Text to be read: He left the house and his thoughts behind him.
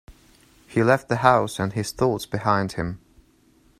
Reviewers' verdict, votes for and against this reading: accepted, 2, 0